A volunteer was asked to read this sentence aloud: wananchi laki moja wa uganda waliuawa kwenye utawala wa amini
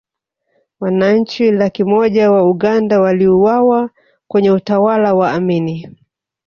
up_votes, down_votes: 1, 2